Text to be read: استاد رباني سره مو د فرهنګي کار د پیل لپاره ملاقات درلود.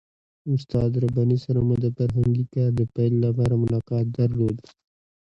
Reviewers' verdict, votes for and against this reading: accepted, 2, 1